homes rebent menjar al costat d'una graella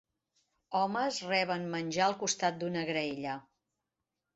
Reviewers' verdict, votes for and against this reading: rejected, 1, 2